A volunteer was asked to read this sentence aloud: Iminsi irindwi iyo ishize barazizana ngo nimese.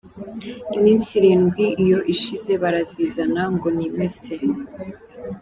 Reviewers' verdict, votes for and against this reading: accepted, 2, 0